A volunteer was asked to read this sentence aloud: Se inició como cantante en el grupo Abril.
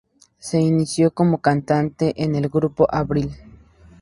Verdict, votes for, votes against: accepted, 2, 0